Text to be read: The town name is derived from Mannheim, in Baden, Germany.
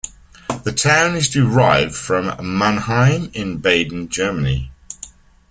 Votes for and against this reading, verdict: 0, 2, rejected